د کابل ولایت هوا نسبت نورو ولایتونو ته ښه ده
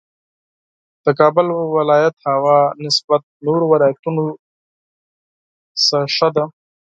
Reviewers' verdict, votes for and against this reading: rejected, 0, 4